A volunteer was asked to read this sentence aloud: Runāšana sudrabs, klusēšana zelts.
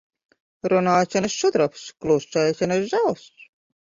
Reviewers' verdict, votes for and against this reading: rejected, 0, 2